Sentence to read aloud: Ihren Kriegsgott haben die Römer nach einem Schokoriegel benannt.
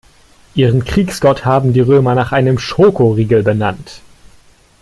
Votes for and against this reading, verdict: 2, 0, accepted